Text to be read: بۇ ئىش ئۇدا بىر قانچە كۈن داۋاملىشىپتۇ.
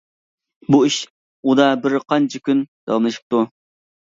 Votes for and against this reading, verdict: 2, 0, accepted